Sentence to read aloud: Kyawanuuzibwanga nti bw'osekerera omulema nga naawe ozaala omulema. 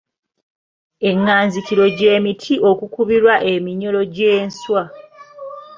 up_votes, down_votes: 0, 3